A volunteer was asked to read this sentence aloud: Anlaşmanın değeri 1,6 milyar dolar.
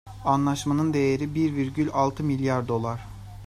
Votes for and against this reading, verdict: 0, 2, rejected